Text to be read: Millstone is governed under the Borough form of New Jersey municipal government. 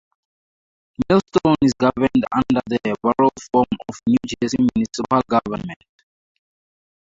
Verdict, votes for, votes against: rejected, 0, 2